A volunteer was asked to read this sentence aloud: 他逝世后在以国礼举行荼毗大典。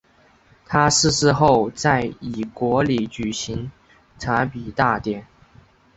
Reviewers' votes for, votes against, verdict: 1, 2, rejected